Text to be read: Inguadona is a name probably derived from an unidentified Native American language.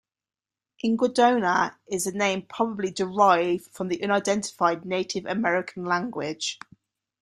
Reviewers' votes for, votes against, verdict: 2, 1, accepted